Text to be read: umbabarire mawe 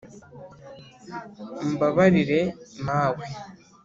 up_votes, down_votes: 2, 0